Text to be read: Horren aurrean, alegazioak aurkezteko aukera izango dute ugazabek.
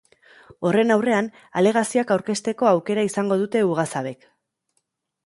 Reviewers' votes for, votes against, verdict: 3, 0, accepted